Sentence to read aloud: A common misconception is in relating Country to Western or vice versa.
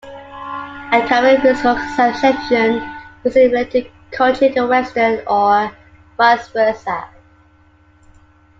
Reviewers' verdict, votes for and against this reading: rejected, 1, 2